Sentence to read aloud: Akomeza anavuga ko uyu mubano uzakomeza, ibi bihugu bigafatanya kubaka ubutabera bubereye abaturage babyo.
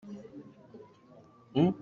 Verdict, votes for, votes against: rejected, 0, 2